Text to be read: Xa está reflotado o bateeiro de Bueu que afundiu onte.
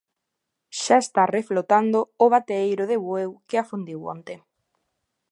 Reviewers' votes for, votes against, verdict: 0, 2, rejected